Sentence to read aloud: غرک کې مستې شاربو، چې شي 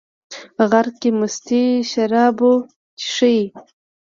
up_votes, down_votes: 2, 0